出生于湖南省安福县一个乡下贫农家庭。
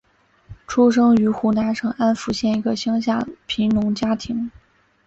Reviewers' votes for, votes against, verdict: 2, 0, accepted